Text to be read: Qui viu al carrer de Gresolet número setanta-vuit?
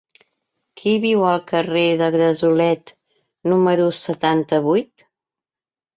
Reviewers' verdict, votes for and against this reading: accepted, 2, 0